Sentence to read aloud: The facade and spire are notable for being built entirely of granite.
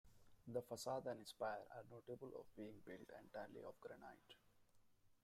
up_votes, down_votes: 0, 2